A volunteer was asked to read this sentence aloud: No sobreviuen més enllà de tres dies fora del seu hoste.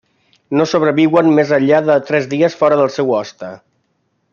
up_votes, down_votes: 3, 0